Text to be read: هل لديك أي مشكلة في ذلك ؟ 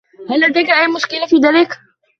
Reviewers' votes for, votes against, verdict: 0, 2, rejected